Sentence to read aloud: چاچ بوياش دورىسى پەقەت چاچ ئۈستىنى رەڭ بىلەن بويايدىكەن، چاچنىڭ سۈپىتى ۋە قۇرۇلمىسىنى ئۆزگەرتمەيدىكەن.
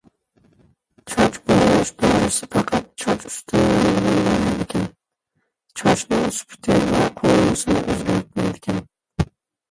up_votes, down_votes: 0, 2